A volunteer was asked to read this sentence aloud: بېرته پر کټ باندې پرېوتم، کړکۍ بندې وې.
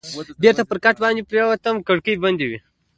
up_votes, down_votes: 2, 1